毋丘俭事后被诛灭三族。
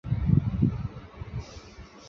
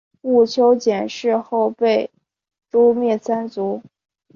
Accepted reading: second